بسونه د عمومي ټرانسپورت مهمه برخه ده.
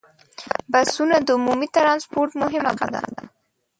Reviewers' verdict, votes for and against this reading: rejected, 1, 2